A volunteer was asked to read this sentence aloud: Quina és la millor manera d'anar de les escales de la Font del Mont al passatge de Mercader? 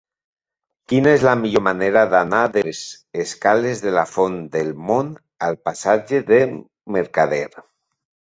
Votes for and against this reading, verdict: 0, 2, rejected